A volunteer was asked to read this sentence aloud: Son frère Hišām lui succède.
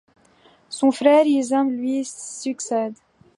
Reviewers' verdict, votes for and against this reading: accepted, 2, 0